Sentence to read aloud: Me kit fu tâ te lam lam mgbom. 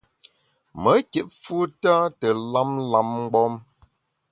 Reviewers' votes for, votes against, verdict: 2, 0, accepted